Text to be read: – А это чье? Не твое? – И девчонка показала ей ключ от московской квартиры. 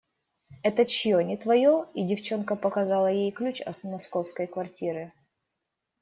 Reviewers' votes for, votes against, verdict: 0, 2, rejected